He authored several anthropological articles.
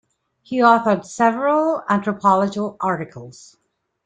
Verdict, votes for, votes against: rejected, 1, 2